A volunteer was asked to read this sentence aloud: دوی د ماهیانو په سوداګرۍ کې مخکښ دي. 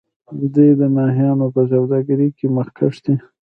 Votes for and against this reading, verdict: 1, 2, rejected